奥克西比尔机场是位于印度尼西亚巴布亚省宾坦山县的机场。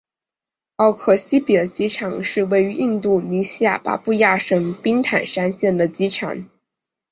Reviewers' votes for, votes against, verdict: 2, 0, accepted